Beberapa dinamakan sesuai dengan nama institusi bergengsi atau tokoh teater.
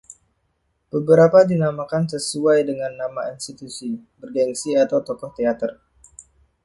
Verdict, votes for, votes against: accepted, 2, 0